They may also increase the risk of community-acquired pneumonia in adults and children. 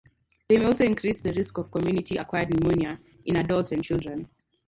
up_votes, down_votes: 2, 2